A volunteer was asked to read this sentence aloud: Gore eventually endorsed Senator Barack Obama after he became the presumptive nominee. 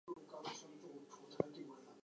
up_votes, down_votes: 0, 4